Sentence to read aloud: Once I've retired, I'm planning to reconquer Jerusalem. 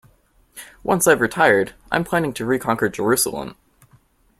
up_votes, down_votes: 2, 0